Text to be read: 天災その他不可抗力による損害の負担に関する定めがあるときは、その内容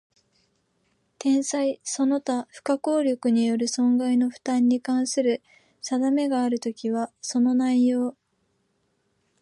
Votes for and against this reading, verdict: 2, 0, accepted